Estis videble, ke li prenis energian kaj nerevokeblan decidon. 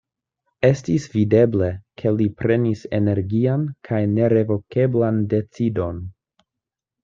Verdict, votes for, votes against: accepted, 2, 0